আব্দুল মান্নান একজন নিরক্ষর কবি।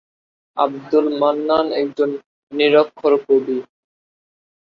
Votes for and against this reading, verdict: 2, 0, accepted